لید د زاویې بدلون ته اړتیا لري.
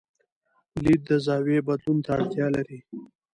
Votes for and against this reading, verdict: 2, 1, accepted